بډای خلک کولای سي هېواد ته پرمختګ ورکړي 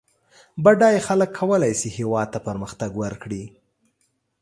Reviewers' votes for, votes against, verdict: 2, 0, accepted